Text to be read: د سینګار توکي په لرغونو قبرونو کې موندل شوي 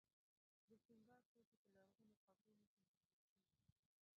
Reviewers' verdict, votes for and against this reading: rejected, 0, 2